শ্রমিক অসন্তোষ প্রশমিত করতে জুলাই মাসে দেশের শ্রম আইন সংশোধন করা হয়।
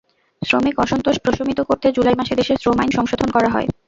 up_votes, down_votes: 0, 2